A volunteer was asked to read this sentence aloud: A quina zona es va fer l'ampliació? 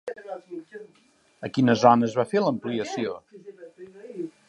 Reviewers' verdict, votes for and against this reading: rejected, 0, 2